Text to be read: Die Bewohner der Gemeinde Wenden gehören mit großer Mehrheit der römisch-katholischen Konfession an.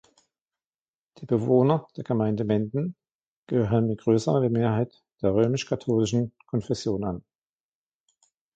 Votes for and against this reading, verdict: 1, 2, rejected